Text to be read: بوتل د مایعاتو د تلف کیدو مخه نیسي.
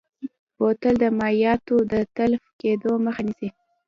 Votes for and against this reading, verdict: 1, 2, rejected